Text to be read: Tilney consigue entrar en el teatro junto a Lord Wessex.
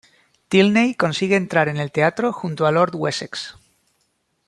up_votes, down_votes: 1, 2